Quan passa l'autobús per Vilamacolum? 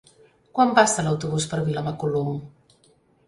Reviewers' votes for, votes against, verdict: 2, 0, accepted